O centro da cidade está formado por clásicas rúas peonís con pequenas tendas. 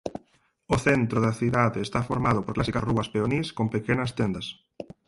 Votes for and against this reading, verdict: 2, 4, rejected